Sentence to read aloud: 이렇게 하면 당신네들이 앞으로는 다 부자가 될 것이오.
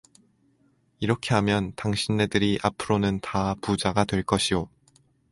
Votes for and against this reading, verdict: 2, 0, accepted